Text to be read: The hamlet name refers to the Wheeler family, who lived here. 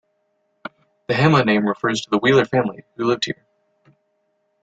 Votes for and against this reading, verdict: 1, 2, rejected